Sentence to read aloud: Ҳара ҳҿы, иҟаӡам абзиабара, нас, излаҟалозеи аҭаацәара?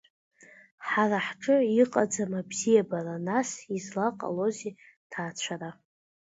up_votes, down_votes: 2, 0